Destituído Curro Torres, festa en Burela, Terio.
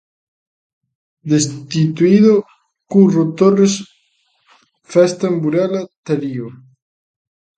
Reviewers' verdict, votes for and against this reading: rejected, 1, 2